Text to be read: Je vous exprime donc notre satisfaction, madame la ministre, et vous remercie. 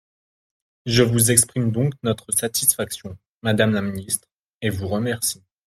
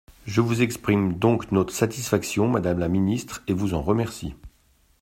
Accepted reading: first